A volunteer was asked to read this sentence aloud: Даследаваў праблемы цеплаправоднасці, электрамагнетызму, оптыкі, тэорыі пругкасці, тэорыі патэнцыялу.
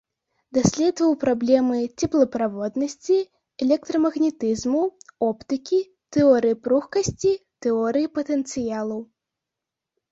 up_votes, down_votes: 2, 0